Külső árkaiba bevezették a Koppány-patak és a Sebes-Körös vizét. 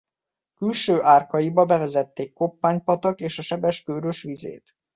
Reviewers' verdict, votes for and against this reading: rejected, 1, 2